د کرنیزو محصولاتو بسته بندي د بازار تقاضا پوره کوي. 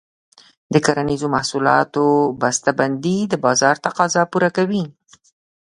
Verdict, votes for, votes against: accepted, 2, 0